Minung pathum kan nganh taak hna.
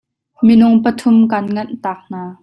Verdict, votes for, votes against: accepted, 2, 0